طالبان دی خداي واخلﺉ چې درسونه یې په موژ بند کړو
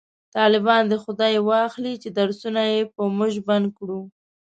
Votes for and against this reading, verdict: 1, 2, rejected